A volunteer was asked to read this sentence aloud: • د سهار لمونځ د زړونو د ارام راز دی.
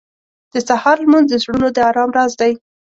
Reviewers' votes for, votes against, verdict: 2, 0, accepted